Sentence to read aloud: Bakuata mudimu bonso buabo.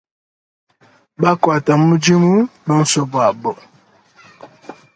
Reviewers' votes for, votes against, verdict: 3, 0, accepted